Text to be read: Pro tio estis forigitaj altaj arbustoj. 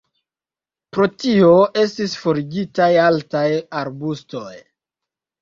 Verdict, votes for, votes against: accepted, 2, 0